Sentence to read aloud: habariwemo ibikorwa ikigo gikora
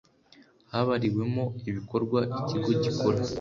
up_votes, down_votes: 2, 0